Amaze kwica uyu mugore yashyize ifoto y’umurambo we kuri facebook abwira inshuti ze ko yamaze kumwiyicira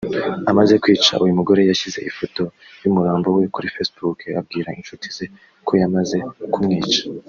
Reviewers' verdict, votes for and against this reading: rejected, 1, 2